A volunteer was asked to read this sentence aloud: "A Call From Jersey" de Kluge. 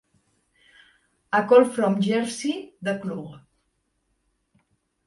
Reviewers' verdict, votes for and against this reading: rejected, 1, 2